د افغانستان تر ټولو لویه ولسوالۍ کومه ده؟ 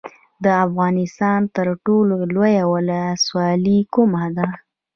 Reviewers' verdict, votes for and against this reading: accepted, 2, 0